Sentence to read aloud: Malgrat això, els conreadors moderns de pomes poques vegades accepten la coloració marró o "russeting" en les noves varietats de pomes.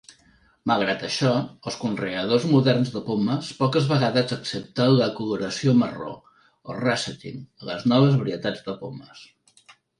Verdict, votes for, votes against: rejected, 1, 2